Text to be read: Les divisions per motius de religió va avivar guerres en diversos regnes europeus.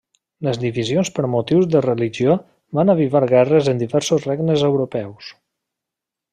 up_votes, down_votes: 2, 0